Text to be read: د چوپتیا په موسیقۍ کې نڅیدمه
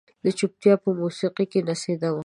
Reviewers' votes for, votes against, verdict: 0, 2, rejected